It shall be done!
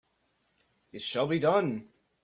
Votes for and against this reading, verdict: 2, 0, accepted